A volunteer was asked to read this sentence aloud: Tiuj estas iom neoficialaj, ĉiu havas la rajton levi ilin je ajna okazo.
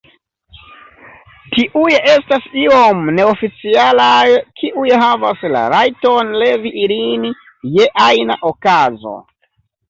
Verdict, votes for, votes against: rejected, 1, 2